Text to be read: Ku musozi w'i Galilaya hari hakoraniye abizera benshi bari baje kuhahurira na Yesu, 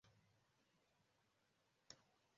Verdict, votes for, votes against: rejected, 0, 2